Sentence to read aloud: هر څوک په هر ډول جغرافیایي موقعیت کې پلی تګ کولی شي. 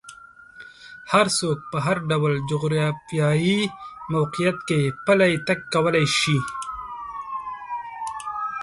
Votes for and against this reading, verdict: 2, 3, rejected